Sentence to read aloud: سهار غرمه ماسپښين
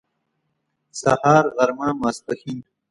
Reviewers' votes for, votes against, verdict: 2, 1, accepted